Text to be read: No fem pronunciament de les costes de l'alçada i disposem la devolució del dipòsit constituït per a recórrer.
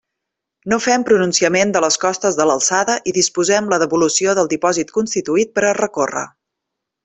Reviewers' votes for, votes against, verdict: 3, 0, accepted